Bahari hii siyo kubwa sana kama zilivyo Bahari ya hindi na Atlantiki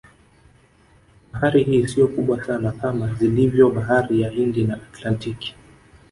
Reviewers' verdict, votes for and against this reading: rejected, 0, 2